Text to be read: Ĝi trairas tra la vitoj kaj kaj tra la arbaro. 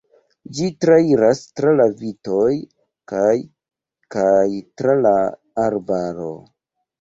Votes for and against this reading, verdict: 2, 0, accepted